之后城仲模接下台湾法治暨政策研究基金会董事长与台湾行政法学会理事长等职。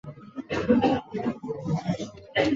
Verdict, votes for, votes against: rejected, 0, 3